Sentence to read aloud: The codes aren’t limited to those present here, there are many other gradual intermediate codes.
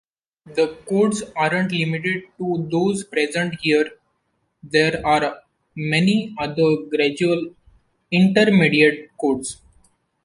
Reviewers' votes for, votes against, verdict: 2, 1, accepted